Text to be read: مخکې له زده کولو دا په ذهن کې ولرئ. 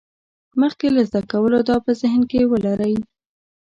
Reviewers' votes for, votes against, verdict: 2, 0, accepted